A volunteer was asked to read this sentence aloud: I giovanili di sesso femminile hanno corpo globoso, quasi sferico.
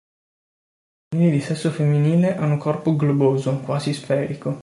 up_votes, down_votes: 0, 2